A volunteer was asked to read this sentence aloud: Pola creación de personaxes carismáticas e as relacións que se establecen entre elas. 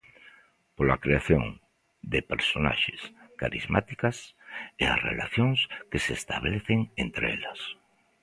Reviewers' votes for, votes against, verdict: 1, 2, rejected